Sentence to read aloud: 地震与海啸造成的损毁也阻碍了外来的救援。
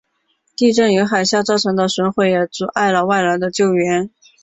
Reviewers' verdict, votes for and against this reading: accepted, 3, 0